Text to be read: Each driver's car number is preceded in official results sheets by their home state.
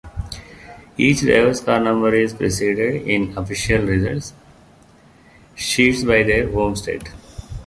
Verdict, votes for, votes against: accepted, 2, 1